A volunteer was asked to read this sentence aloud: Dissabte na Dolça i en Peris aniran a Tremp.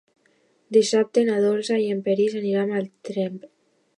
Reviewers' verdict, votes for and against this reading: accepted, 2, 0